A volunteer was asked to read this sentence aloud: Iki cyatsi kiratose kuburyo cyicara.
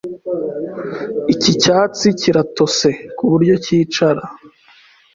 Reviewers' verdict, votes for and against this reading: accepted, 2, 0